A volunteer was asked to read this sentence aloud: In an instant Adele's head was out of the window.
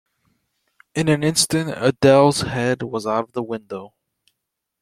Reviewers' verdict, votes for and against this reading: accepted, 2, 0